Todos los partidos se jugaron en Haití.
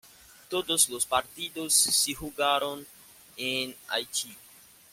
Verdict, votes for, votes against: accepted, 2, 0